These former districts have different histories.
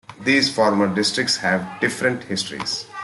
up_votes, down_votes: 2, 0